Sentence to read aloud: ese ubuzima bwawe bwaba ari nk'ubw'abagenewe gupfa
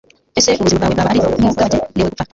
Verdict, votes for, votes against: rejected, 1, 2